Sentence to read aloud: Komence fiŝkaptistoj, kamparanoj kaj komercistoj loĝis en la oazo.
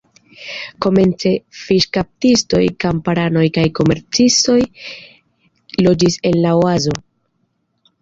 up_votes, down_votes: 2, 0